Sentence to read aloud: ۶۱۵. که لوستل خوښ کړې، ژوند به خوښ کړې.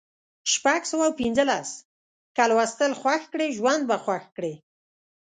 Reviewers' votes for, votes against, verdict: 0, 2, rejected